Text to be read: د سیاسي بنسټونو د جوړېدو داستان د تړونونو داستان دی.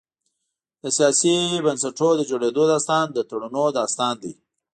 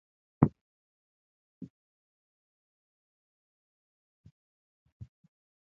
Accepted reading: first